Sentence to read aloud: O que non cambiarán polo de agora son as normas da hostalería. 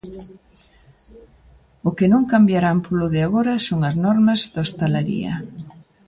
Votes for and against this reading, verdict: 1, 2, rejected